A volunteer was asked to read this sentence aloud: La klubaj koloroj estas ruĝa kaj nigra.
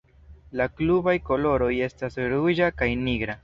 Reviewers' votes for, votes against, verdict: 2, 0, accepted